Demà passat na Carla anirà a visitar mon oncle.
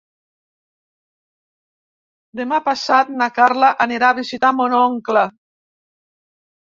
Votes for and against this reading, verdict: 3, 0, accepted